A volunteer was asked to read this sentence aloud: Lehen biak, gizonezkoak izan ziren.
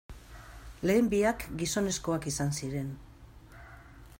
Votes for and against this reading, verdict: 2, 0, accepted